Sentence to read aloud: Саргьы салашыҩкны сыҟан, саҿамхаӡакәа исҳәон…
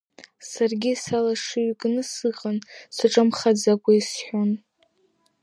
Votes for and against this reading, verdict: 0, 2, rejected